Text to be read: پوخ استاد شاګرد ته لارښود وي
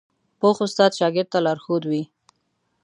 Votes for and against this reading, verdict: 2, 0, accepted